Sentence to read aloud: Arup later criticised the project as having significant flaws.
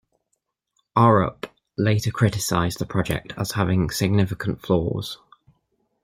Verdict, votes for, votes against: accepted, 2, 0